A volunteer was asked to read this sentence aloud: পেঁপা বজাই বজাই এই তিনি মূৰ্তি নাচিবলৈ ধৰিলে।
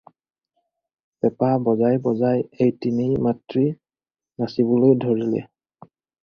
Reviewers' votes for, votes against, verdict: 0, 4, rejected